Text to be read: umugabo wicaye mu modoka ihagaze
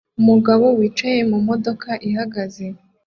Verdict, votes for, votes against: accepted, 2, 0